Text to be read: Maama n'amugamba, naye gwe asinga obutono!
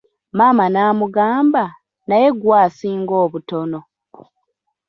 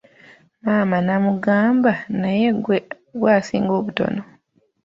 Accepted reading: first